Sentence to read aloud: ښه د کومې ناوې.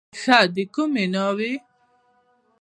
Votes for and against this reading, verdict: 0, 2, rejected